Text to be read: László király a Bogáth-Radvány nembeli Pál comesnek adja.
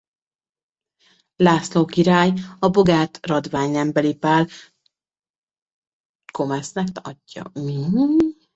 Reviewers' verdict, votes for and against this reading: rejected, 1, 2